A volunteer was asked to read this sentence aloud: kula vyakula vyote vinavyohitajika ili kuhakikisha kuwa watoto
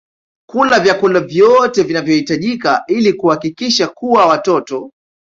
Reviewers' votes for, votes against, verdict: 2, 0, accepted